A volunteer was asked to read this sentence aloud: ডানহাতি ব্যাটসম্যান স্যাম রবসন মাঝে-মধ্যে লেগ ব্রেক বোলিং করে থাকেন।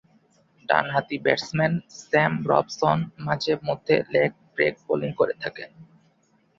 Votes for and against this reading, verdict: 2, 2, rejected